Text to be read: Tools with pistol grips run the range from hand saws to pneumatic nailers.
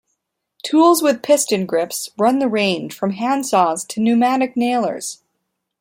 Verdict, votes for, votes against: rejected, 1, 2